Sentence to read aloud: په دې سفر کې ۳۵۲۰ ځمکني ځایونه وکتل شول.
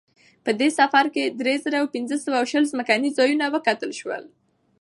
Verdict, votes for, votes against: rejected, 0, 2